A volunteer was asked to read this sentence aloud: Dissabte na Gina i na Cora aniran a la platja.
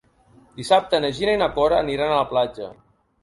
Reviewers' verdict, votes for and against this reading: accepted, 2, 0